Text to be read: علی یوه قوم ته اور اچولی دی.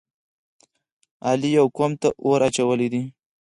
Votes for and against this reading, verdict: 2, 4, rejected